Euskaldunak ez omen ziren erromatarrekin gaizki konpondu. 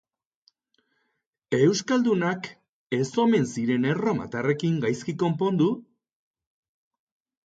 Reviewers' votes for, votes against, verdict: 2, 0, accepted